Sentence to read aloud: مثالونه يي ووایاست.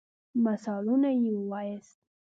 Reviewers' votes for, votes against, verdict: 2, 0, accepted